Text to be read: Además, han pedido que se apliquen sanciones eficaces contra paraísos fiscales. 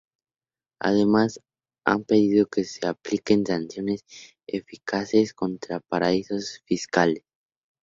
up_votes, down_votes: 2, 0